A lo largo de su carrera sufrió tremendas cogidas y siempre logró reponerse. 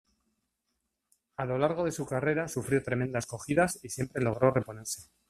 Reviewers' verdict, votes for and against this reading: accepted, 2, 1